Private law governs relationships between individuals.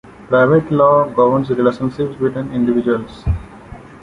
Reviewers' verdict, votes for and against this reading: accepted, 2, 0